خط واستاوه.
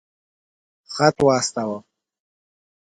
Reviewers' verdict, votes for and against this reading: accepted, 2, 0